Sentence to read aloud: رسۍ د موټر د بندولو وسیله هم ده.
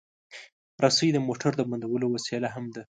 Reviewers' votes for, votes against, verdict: 2, 0, accepted